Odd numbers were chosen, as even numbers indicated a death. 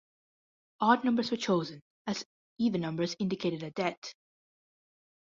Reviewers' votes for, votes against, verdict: 0, 2, rejected